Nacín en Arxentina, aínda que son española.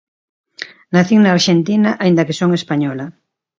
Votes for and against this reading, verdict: 1, 2, rejected